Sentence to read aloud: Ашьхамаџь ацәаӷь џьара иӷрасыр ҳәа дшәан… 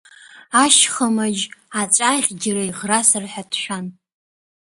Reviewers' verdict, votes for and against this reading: rejected, 0, 2